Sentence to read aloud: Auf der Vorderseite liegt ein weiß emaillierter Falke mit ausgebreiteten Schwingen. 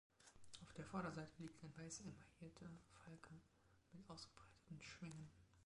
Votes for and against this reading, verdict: 2, 1, accepted